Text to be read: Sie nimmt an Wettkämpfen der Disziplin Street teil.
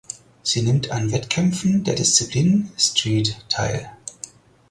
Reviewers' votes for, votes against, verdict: 4, 0, accepted